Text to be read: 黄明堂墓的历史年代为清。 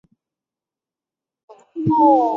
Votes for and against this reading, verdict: 0, 2, rejected